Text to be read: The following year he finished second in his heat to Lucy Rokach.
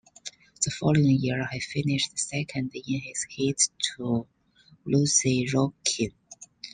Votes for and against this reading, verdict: 1, 2, rejected